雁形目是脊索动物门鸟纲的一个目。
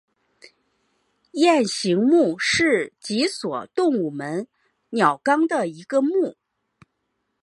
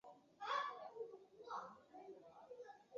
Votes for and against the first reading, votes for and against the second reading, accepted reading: 2, 0, 0, 2, first